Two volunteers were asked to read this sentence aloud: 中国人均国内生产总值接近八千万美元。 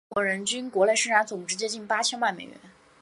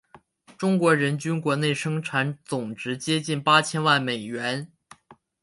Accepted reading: second